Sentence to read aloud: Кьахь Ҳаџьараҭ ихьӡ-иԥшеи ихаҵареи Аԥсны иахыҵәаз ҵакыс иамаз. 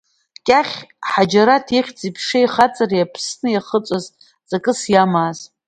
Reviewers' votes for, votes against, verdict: 2, 0, accepted